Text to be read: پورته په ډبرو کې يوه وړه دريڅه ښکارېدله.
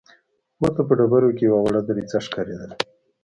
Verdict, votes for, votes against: rejected, 1, 2